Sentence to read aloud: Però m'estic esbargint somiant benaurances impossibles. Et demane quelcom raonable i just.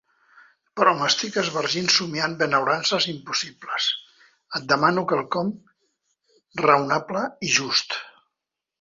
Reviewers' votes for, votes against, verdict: 1, 2, rejected